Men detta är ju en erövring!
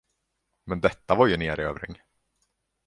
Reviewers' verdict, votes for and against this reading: rejected, 1, 2